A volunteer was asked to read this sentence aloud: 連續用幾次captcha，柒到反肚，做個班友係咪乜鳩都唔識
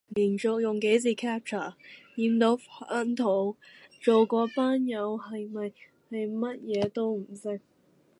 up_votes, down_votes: 0, 2